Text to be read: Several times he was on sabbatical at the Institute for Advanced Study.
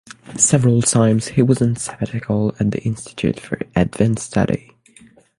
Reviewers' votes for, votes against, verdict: 6, 0, accepted